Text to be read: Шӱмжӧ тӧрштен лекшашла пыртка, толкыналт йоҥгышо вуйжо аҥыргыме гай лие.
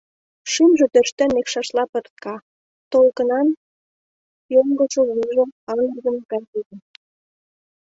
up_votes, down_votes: 1, 2